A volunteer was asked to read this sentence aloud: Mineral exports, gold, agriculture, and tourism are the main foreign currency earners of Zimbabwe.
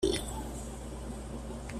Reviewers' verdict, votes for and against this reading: rejected, 0, 2